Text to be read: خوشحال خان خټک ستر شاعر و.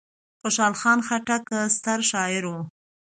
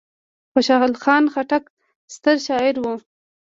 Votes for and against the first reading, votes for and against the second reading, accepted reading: 2, 0, 1, 3, first